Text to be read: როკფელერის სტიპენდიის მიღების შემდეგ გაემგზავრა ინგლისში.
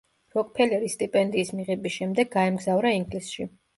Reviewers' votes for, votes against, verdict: 2, 0, accepted